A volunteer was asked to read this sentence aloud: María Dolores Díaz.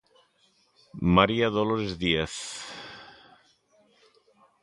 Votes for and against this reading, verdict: 2, 0, accepted